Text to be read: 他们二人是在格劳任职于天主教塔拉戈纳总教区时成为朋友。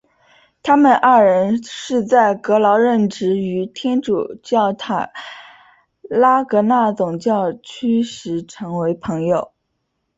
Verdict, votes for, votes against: accepted, 2, 0